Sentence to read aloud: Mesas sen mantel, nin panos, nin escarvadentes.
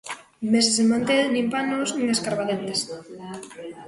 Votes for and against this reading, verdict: 0, 2, rejected